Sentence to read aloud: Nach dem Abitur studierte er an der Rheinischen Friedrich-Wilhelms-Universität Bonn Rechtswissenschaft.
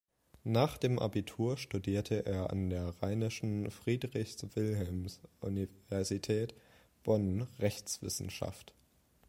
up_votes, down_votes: 1, 2